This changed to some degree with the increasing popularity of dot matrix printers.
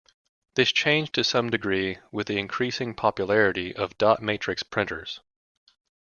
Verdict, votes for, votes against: accepted, 3, 0